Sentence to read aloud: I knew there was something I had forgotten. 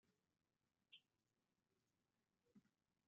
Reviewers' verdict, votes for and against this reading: rejected, 0, 2